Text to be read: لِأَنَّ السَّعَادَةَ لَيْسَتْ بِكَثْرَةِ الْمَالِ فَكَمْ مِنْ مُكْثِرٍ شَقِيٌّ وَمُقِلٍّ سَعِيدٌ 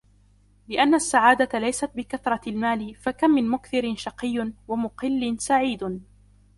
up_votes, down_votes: 2, 0